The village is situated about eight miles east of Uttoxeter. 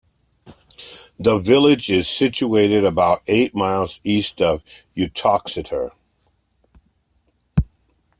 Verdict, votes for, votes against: accepted, 2, 0